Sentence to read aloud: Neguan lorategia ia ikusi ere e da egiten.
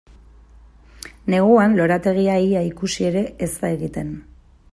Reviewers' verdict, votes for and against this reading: accepted, 2, 0